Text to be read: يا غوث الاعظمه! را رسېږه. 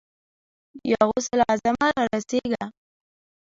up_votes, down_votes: 1, 2